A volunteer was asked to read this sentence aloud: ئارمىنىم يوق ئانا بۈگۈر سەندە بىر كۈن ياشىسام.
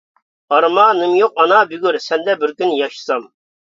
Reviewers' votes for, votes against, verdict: 1, 2, rejected